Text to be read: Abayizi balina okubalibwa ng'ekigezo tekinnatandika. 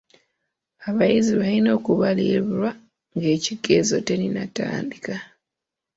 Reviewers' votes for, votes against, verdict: 0, 3, rejected